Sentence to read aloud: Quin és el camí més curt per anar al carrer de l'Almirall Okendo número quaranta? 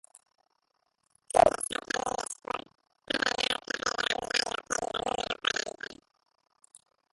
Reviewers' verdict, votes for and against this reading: rejected, 1, 5